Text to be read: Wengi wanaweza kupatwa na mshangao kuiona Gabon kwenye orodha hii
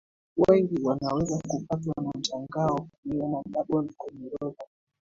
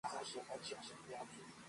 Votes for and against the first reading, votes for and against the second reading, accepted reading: 2, 1, 0, 2, first